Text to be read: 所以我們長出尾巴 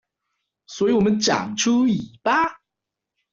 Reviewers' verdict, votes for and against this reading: rejected, 1, 2